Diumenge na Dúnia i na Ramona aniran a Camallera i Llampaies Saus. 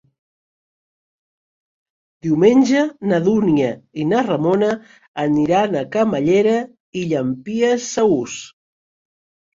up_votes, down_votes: 1, 2